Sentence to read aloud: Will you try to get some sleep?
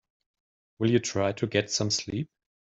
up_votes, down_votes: 2, 0